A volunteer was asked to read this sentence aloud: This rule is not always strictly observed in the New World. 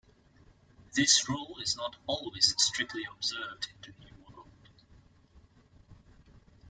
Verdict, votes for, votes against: accepted, 2, 0